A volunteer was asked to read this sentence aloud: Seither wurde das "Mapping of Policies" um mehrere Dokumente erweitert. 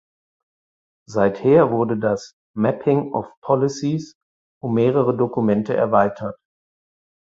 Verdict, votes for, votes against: accepted, 4, 0